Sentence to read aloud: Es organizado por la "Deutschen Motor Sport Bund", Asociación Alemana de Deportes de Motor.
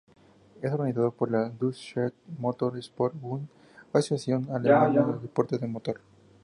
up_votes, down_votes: 0, 2